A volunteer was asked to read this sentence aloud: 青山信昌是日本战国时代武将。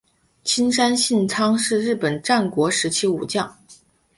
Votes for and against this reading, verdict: 3, 0, accepted